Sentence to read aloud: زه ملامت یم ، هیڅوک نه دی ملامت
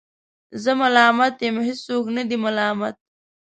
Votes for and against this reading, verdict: 2, 0, accepted